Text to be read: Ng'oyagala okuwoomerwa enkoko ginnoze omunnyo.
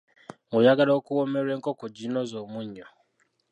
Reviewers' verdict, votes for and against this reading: rejected, 1, 2